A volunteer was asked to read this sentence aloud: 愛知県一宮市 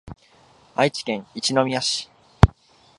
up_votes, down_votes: 2, 0